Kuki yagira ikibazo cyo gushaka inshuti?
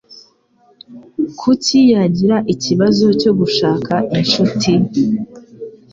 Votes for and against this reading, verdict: 2, 0, accepted